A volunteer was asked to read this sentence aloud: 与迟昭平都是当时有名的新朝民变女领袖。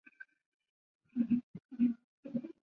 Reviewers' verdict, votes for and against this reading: rejected, 1, 7